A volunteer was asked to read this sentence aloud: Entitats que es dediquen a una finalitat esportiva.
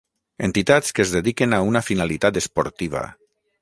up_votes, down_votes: 9, 0